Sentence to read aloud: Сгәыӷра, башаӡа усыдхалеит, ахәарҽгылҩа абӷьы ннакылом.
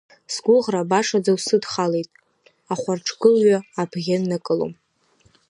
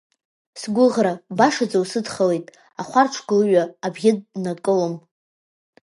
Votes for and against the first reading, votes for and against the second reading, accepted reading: 1, 2, 2, 0, second